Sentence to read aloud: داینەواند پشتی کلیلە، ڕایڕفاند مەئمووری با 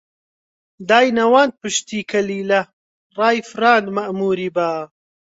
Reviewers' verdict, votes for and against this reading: rejected, 0, 2